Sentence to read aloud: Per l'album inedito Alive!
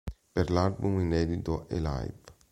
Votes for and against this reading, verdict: 2, 1, accepted